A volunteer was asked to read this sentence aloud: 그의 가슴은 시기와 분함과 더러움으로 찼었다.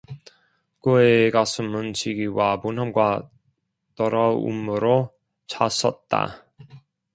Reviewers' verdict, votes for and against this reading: rejected, 1, 2